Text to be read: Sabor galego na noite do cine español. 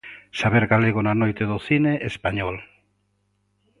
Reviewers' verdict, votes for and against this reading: rejected, 1, 2